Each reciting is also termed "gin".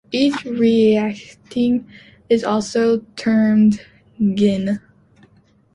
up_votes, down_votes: 0, 2